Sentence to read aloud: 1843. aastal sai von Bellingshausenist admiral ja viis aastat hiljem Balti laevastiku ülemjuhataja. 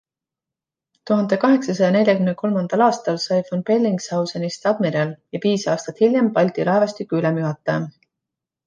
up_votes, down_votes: 0, 2